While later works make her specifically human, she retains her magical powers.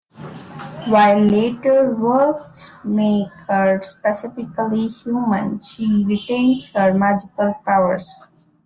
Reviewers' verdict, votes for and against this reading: accepted, 2, 0